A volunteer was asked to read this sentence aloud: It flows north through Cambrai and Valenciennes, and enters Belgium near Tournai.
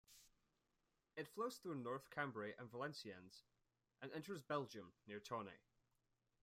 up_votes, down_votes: 1, 2